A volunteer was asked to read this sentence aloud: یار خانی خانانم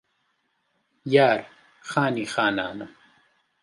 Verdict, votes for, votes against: accepted, 2, 0